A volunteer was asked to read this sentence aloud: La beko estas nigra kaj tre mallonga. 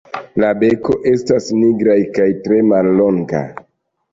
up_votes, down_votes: 0, 2